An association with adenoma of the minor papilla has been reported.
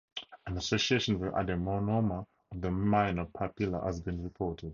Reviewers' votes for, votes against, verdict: 0, 2, rejected